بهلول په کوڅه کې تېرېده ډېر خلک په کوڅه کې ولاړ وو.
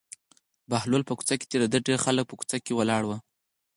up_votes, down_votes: 0, 4